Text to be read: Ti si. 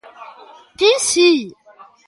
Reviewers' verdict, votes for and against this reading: accepted, 3, 0